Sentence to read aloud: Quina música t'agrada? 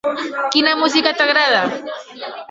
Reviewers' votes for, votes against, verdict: 3, 0, accepted